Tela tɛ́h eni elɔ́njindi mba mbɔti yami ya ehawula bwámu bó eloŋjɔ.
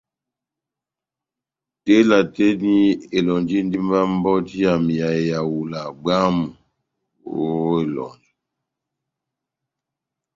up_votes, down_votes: 0, 2